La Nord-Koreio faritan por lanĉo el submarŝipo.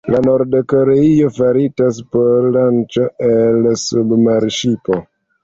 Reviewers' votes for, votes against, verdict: 1, 2, rejected